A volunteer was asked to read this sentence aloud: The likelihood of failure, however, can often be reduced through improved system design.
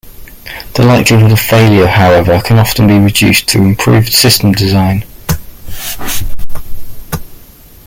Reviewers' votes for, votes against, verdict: 2, 1, accepted